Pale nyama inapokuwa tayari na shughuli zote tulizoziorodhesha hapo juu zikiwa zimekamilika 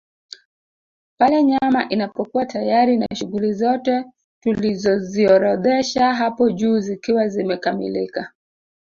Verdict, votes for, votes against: accepted, 2, 1